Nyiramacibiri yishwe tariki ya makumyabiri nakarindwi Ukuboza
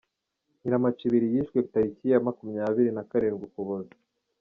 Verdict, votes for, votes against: rejected, 0, 2